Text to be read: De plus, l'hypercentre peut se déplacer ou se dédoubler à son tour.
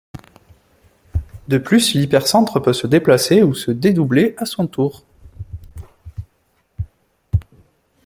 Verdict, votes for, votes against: accepted, 2, 0